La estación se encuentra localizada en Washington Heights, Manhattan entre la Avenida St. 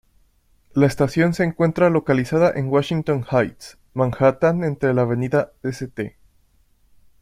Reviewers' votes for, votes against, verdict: 2, 0, accepted